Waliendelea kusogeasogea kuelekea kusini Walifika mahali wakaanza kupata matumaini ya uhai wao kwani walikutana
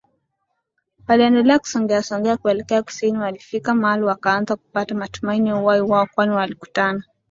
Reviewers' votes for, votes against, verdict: 3, 0, accepted